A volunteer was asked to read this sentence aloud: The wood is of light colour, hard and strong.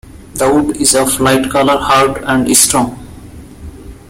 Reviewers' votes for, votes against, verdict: 0, 2, rejected